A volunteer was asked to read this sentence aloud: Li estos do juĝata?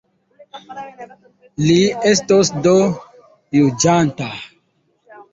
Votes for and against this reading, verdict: 0, 3, rejected